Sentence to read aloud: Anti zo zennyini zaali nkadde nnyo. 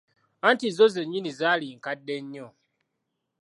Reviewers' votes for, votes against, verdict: 2, 0, accepted